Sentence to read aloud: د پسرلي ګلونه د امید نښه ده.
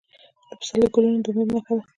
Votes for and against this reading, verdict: 2, 1, accepted